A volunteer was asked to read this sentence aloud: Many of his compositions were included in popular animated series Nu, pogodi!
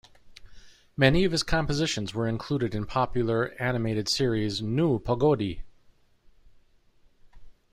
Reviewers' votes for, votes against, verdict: 2, 0, accepted